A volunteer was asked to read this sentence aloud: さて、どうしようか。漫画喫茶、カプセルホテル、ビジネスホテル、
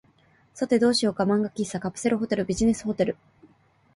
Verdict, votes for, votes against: accepted, 2, 1